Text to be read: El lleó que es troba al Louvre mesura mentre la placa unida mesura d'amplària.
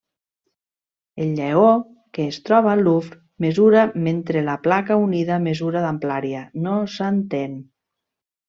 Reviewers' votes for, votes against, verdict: 0, 2, rejected